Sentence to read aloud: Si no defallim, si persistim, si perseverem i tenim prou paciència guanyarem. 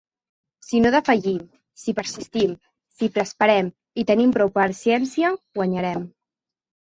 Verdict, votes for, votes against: rejected, 0, 2